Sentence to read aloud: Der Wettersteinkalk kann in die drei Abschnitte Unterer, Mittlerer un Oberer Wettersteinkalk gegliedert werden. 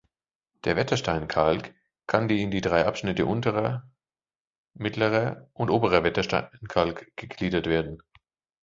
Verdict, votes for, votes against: rejected, 0, 2